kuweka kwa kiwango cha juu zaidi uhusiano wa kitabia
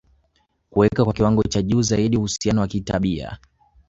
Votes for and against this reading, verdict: 0, 2, rejected